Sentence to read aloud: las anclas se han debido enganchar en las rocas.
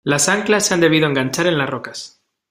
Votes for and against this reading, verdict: 2, 0, accepted